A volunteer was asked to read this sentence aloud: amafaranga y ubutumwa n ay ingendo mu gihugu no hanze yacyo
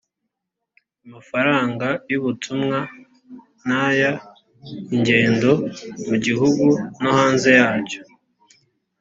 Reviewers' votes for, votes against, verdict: 2, 0, accepted